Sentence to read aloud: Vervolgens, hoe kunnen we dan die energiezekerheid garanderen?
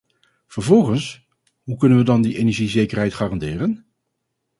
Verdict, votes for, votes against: accepted, 4, 0